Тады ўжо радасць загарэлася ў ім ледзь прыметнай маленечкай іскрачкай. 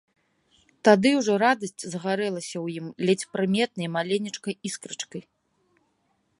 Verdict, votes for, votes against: accepted, 2, 0